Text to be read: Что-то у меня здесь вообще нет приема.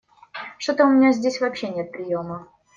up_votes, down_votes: 2, 0